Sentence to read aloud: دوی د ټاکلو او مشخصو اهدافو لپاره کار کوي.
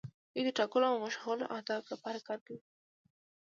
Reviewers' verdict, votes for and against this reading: accepted, 2, 0